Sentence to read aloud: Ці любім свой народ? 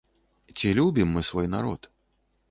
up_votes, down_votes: 1, 2